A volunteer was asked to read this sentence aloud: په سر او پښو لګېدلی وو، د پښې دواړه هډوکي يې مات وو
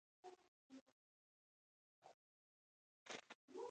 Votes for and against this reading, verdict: 0, 2, rejected